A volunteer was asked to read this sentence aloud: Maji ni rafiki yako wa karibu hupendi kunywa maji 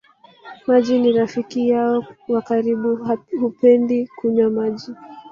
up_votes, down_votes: 0, 2